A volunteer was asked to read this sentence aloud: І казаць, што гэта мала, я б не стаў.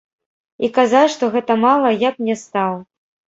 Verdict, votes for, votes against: rejected, 1, 2